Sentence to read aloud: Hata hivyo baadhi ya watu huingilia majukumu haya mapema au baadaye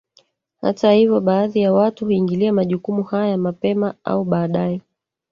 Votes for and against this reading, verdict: 1, 2, rejected